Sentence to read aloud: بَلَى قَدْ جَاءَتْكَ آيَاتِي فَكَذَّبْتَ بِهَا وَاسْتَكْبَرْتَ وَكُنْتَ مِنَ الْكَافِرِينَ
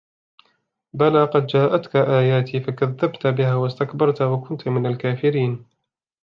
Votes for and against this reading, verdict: 2, 1, accepted